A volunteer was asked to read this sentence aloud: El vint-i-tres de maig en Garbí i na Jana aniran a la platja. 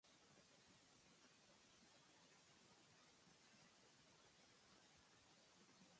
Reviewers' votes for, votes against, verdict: 0, 2, rejected